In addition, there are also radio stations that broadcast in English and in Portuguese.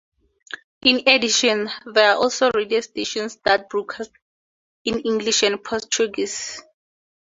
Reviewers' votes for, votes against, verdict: 2, 2, rejected